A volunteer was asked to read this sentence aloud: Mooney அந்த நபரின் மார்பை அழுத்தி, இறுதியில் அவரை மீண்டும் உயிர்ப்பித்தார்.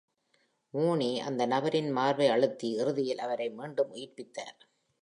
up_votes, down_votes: 2, 0